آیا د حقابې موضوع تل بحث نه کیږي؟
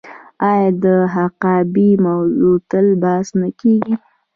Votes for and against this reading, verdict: 1, 2, rejected